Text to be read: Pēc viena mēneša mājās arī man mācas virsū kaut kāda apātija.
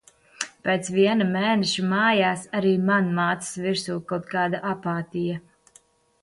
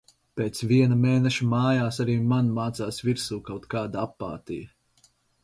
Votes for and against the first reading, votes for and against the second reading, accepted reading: 2, 0, 0, 4, first